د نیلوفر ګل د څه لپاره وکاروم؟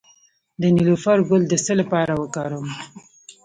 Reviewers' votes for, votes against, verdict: 0, 2, rejected